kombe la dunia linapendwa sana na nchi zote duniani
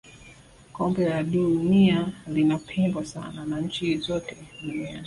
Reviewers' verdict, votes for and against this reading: rejected, 1, 2